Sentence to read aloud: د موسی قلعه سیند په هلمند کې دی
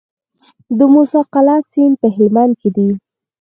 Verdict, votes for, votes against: rejected, 2, 4